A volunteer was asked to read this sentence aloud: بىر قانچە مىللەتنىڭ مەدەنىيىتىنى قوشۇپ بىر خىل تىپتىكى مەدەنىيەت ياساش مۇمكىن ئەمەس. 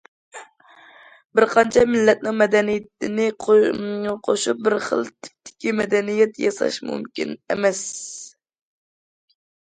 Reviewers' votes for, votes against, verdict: 0, 2, rejected